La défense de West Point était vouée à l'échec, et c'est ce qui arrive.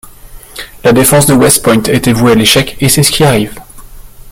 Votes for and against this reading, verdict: 2, 0, accepted